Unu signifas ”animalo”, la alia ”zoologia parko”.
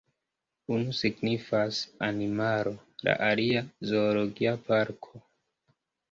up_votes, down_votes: 0, 2